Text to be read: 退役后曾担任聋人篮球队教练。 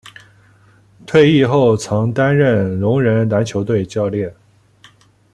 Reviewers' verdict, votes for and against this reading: accepted, 2, 0